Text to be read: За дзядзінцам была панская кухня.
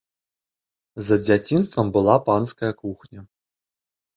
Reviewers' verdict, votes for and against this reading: rejected, 0, 2